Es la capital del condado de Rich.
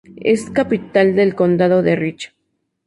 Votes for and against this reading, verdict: 2, 0, accepted